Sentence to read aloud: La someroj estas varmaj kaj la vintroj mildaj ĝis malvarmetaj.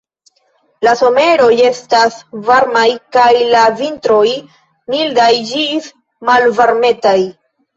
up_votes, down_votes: 0, 2